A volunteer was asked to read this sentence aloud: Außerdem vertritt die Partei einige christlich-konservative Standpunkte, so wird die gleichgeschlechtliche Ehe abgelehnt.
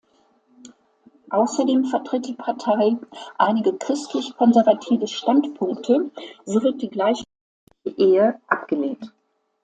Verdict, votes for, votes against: rejected, 0, 2